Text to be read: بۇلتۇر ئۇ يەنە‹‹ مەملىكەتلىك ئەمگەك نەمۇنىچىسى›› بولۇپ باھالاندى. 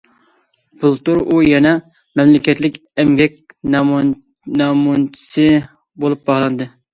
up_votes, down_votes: 0, 2